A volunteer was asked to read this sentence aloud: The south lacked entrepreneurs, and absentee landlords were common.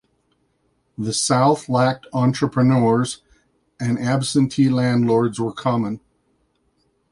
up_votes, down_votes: 2, 0